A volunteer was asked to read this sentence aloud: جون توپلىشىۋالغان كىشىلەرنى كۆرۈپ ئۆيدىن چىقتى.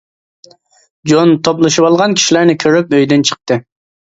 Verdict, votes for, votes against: accepted, 2, 0